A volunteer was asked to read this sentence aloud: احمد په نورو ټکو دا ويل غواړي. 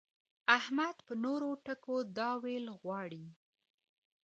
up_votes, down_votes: 1, 2